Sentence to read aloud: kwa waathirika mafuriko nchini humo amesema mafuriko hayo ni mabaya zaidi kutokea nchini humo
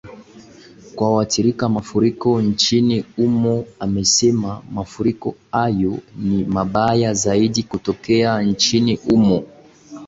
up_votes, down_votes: 2, 1